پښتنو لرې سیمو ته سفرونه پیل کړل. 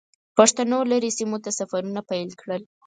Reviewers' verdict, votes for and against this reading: accepted, 4, 0